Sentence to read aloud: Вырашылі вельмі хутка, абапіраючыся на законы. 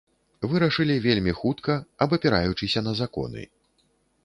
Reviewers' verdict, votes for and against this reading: accepted, 2, 0